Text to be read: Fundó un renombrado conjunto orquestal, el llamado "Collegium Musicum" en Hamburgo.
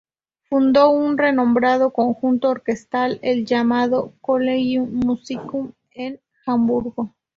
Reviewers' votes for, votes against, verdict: 0, 2, rejected